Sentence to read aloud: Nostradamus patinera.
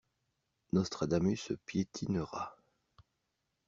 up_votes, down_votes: 0, 2